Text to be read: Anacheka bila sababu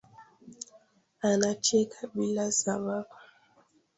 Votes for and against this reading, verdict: 2, 1, accepted